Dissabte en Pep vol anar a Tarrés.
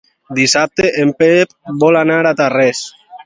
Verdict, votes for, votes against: accepted, 2, 0